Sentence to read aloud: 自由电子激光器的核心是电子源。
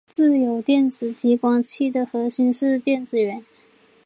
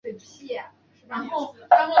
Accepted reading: first